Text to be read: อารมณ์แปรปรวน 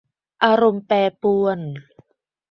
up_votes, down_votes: 2, 0